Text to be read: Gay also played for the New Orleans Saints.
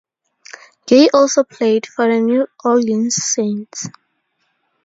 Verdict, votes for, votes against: accepted, 2, 0